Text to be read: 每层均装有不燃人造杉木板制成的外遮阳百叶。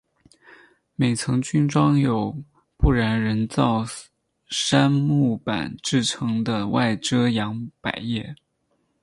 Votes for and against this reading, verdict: 4, 0, accepted